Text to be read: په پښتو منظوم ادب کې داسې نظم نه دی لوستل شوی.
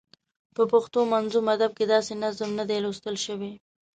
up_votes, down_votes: 2, 0